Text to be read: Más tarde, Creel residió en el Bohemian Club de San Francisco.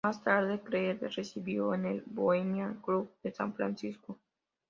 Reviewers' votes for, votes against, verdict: 2, 0, accepted